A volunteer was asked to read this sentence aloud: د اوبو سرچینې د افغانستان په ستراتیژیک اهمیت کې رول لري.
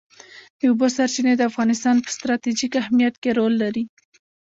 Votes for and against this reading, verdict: 0, 2, rejected